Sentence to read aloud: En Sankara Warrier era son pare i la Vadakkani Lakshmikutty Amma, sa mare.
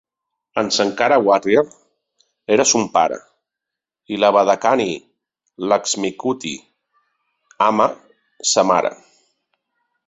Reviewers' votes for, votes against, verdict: 3, 0, accepted